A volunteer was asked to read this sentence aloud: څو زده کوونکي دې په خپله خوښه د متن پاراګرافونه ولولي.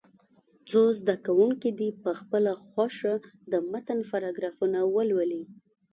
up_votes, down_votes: 2, 0